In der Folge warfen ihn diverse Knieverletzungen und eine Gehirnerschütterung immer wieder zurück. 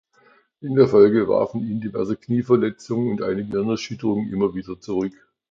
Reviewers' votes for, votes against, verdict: 2, 1, accepted